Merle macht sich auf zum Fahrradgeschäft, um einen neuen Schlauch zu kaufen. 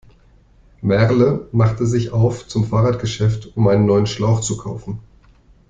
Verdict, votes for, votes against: rejected, 1, 2